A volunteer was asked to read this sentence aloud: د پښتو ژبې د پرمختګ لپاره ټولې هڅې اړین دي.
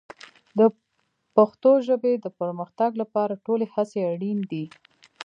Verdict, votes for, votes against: accepted, 2, 0